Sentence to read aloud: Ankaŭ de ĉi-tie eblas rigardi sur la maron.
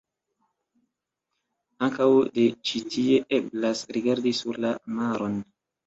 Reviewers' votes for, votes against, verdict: 2, 0, accepted